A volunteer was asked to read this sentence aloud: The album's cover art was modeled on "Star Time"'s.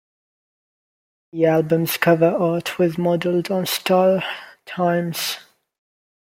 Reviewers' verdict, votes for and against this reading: accepted, 2, 0